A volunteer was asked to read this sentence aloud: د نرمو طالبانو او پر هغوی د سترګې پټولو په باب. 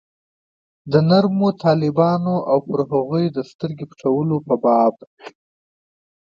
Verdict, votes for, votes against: accepted, 2, 0